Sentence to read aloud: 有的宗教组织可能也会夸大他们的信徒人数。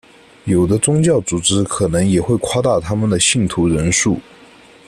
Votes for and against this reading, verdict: 2, 0, accepted